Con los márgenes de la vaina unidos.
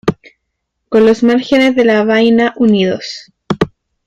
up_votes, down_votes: 2, 1